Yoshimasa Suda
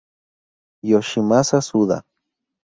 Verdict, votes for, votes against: accepted, 2, 0